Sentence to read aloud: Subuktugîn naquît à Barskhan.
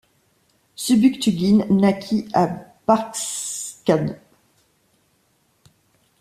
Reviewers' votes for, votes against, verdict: 0, 2, rejected